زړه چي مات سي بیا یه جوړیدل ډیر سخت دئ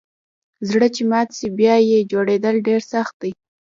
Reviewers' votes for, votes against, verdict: 2, 0, accepted